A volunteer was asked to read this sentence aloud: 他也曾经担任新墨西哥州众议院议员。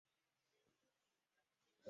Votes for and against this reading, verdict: 0, 2, rejected